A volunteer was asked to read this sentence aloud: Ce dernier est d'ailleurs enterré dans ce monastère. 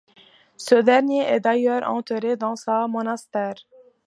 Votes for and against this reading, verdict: 1, 2, rejected